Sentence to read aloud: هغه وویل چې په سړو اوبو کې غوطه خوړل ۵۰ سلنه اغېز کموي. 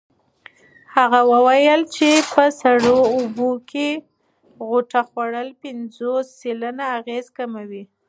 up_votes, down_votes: 0, 2